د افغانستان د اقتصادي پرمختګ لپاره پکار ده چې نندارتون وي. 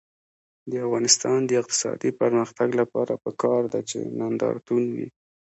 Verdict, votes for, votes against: accepted, 2, 0